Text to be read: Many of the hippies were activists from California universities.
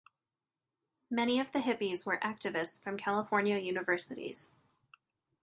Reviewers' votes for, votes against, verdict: 2, 0, accepted